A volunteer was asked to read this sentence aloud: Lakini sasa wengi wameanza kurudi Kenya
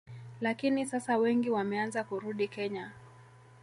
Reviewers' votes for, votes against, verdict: 1, 2, rejected